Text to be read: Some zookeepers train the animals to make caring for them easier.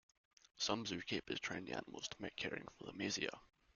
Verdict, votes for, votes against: accepted, 2, 1